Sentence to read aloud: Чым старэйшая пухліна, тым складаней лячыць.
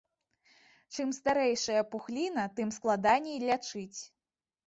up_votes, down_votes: 2, 0